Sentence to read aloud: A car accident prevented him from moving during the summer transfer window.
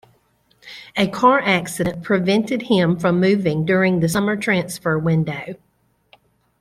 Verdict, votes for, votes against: accepted, 2, 0